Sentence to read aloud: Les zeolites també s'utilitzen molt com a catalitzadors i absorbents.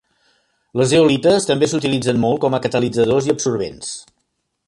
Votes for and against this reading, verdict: 2, 0, accepted